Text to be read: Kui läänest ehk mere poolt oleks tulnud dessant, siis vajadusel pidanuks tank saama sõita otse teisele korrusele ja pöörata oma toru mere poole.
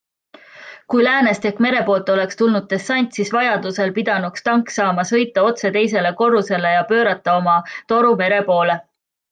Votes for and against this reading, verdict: 3, 0, accepted